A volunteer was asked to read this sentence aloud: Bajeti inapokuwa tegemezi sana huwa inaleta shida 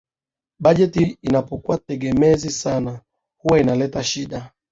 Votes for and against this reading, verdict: 2, 0, accepted